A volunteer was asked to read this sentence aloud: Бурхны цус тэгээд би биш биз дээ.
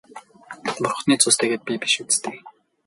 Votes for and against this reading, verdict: 2, 0, accepted